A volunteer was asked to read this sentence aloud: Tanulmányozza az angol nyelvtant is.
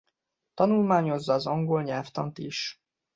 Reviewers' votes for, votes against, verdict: 2, 1, accepted